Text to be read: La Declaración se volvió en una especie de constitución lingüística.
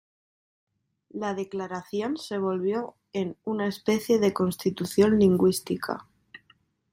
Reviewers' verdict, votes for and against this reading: accepted, 2, 0